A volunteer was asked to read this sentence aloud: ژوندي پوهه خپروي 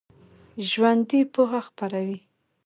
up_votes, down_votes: 2, 0